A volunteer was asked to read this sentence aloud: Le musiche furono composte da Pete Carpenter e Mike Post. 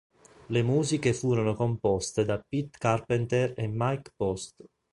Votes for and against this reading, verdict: 2, 0, accepted